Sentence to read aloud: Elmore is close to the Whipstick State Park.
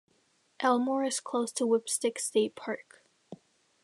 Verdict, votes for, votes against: accepted, 2, 1